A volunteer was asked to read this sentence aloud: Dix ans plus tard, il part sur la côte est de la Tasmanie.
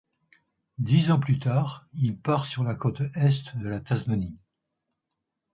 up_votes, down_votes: 2, 0